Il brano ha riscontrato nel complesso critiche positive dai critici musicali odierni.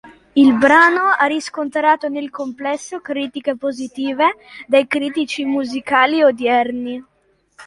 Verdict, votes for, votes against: rejected, 1, 2